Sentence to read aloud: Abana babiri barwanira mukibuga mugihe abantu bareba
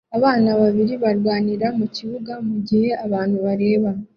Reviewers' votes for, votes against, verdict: 2, 0, accepted